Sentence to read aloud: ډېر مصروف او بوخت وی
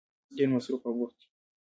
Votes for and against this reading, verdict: 0, 2, rejected